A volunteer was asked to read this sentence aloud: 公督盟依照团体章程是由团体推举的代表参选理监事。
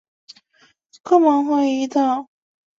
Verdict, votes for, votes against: rejected, 0, 2